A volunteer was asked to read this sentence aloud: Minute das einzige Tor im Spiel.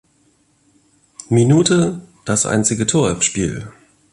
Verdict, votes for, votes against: accepted, 2, 0